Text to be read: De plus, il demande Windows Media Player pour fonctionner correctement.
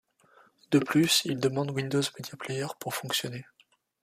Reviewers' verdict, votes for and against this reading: rejected, 0, 2